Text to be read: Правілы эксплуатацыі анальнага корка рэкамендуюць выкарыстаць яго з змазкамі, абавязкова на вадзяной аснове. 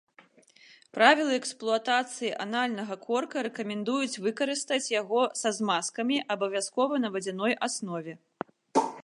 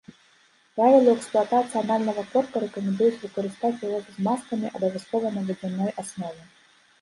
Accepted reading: first